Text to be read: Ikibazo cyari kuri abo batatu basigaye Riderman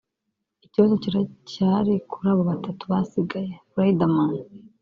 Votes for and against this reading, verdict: 1, 2, rejected